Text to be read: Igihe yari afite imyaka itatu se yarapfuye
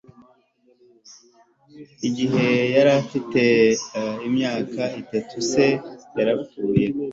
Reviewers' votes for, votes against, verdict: 2, 0, accepted